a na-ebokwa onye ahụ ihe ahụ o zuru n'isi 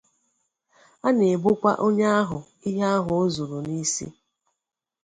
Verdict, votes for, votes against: accepted, 2, 0